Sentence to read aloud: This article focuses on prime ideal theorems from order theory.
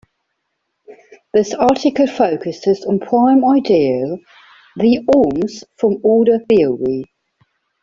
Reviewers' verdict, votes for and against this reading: rejected, 0, 2